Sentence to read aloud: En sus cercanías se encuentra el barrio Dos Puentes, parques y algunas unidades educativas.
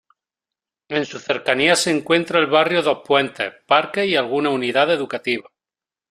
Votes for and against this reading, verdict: 1, 2, rejected